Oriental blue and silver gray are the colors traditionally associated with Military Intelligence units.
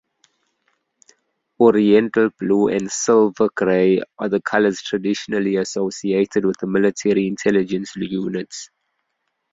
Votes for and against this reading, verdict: 2, 0, accepted